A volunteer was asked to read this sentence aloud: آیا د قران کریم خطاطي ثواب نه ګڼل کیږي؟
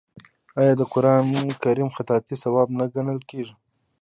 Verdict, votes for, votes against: accepted, 2, 0